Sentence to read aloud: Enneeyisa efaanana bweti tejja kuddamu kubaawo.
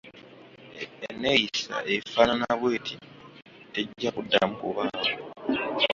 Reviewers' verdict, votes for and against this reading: rejected, 0, 2